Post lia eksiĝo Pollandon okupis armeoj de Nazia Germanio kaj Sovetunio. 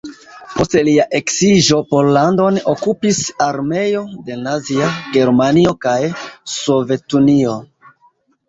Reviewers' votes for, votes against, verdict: 0, 2, rejected